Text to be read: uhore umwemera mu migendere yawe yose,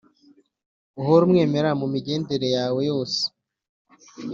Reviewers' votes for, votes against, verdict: 2, 0, accepted